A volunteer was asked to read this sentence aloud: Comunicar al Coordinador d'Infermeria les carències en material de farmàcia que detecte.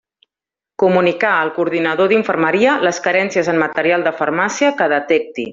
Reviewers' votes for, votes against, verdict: 0, 2, rejected